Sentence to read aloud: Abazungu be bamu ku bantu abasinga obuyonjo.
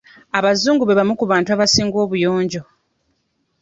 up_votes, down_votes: 2, 0